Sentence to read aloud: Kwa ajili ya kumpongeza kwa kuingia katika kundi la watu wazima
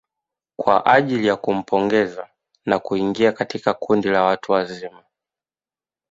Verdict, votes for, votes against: rejected, 1, 2